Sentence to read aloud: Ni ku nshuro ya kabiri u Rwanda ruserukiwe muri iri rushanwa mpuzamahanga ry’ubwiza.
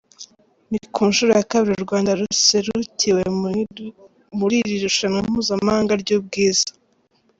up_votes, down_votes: 0, 2